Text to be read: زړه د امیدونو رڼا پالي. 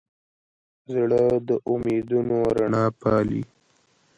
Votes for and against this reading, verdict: 2, 0, accepted